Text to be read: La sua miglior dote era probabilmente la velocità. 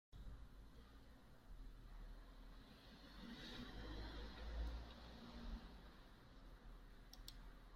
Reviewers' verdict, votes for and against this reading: rejected, 0, 2